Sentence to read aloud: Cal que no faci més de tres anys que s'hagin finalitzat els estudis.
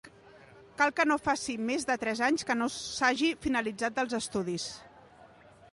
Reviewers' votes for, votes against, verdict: 1, 2, rejected